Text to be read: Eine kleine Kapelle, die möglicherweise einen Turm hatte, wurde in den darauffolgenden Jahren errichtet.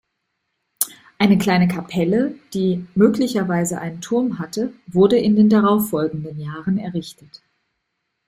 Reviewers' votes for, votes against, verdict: 2, 0, accepted